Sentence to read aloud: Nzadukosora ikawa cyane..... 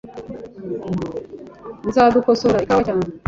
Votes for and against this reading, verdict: 0, 2, rejected